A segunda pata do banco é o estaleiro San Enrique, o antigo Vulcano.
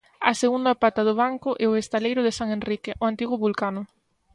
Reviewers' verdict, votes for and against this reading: rejected, 1, 2